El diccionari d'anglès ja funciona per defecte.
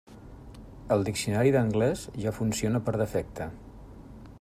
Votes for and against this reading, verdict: 3, 0, accepted